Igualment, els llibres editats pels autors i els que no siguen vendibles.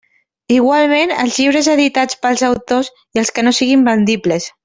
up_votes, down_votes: 1, 2